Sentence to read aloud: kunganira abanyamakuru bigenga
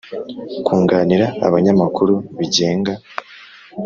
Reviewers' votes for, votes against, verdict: 2, 0, accepted